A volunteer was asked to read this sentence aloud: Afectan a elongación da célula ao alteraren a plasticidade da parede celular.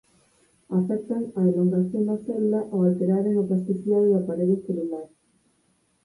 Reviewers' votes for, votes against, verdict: 6, 0, accepted